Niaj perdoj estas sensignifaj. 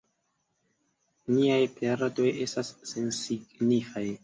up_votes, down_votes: 1, 2